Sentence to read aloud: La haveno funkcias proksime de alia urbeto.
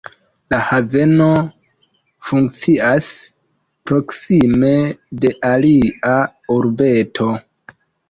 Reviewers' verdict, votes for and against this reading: accepted, 2, 0